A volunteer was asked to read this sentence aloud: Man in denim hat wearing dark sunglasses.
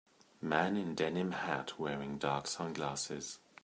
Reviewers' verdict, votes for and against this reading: accepted, 2, 1